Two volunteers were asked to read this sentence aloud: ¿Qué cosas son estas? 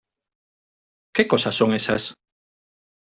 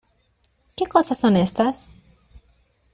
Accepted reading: second